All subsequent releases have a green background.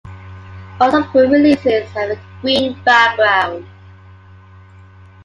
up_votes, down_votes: 1, 2